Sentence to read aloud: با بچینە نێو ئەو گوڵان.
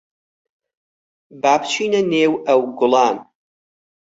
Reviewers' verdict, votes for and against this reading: accepted, 4, 0